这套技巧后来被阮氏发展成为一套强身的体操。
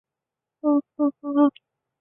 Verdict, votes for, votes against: rejected, 1, 5